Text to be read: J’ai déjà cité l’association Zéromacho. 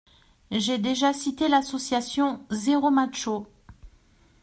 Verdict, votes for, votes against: accepted, 2, 0